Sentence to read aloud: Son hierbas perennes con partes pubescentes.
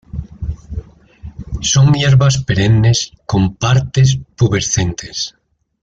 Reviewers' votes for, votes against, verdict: 2, 0, accepted